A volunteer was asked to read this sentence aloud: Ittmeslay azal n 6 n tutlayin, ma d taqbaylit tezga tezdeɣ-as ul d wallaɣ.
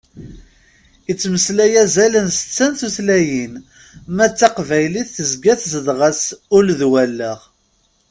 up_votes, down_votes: 0, 2